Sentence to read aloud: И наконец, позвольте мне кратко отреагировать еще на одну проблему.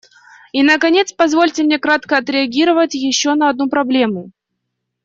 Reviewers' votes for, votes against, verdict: 2, 0, accepted